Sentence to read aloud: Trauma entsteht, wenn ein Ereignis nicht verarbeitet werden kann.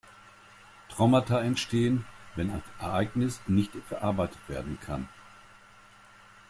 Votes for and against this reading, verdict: 1, 2, rejected